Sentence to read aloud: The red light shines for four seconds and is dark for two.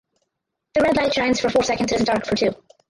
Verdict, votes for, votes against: accepted, 4, 2